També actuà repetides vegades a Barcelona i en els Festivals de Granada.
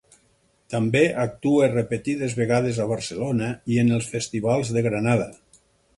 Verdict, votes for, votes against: rejected, 2, 4